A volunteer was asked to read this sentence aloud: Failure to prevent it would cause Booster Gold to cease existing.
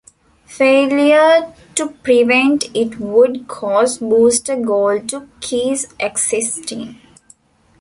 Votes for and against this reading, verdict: 0, 2, rejected